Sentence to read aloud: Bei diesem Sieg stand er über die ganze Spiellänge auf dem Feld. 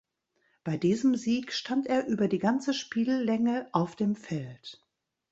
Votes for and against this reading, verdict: 1, 2, rejected